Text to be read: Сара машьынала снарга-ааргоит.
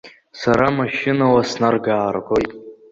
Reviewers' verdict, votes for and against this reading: rejected, 1, 2